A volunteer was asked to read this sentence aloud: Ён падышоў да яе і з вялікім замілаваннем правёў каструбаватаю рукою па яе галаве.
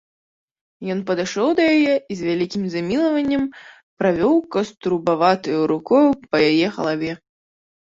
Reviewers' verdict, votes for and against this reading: rejected, 2, 4